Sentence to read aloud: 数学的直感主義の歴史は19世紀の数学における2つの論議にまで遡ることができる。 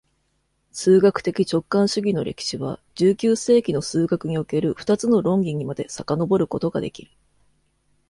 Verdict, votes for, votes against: rejected, 0, 2